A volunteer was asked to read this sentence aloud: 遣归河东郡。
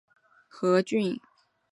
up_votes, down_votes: 0, 2